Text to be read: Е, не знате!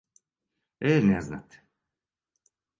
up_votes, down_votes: 2, 0